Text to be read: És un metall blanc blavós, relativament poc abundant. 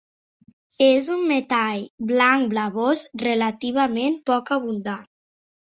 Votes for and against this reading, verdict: 2, 3, rejected